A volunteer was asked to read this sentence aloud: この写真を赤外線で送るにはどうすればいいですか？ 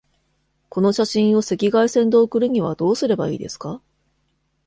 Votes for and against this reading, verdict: 2, 0, accepted